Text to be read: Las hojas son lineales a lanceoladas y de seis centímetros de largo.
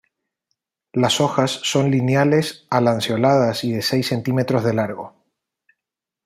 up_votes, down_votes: 2, 0